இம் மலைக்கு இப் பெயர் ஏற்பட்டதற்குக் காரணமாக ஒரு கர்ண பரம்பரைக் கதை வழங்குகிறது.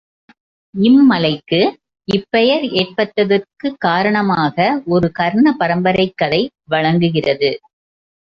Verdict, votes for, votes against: accepted, 3, 0